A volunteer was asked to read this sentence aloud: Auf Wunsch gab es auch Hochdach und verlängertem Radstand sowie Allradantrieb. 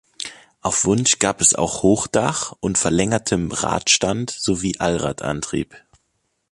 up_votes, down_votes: 2, 0